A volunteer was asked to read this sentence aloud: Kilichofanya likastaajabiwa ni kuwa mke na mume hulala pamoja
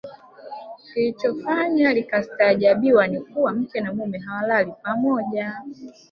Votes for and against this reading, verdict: 0, 2, rejected